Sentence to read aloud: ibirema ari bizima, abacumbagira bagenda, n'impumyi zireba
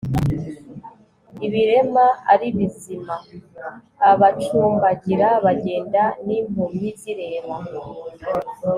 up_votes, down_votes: 2, 0